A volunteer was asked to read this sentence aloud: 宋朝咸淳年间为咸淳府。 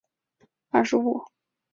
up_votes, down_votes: 1, 3